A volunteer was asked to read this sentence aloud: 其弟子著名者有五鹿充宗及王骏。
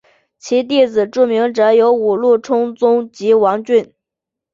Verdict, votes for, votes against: accepted, 3, 2